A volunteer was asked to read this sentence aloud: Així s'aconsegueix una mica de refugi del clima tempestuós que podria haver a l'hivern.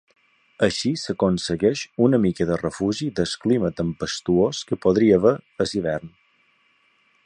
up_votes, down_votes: 2, 0